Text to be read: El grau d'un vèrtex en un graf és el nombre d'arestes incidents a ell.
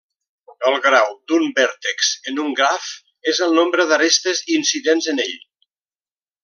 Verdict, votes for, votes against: rejected, 0, 2